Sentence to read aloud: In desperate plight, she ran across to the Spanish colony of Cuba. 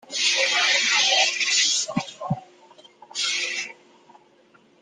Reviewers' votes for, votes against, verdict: 0, 2, rejected